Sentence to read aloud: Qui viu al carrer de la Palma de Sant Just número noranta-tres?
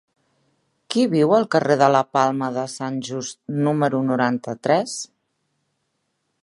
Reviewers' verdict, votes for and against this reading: accepted, 3, 0